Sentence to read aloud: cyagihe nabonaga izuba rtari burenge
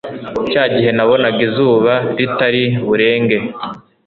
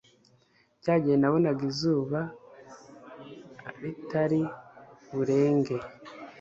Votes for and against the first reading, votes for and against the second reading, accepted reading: 2, 0, 1, 2, first